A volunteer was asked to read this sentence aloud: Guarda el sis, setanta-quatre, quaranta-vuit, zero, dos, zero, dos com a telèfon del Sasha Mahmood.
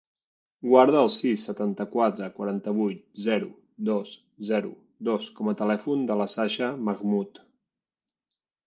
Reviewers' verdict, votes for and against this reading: rejected, 1, 2